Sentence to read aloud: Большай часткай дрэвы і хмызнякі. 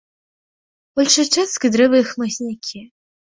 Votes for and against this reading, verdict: 2, 0, accepted